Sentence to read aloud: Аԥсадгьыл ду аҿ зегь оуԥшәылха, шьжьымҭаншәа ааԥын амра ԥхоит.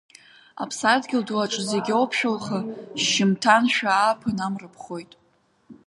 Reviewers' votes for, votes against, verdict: 3, 0, accepted